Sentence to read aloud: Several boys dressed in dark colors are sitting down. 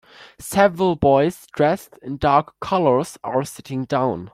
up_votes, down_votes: 2, 0